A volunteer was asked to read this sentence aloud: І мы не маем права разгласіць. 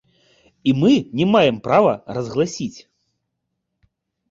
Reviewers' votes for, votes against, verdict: 2, 0, accepted